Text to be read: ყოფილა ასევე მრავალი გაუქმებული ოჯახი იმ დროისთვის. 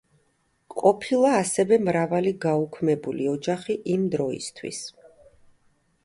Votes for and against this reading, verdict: 2, 1, accepted